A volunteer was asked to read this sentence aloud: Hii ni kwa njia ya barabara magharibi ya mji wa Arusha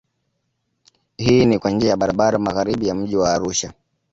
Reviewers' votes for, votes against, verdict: 2, 1, accepted